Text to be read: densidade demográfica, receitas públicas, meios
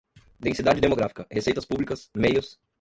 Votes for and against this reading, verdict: 0, 3, rejected